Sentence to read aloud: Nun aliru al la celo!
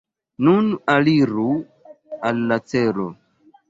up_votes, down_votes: 2, 0